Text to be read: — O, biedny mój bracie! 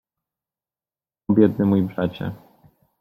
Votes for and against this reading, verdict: 1, 2, rejected